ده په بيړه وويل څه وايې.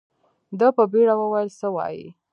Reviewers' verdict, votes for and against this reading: rejected, 1, 2